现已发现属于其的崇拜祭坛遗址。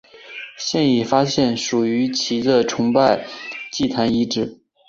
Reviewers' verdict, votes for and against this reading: accepted, 4, 0